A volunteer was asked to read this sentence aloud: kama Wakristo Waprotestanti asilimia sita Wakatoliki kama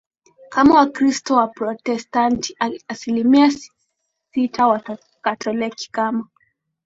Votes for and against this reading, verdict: 2, 1, accepted